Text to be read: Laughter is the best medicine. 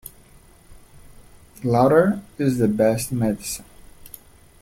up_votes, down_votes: 0, 2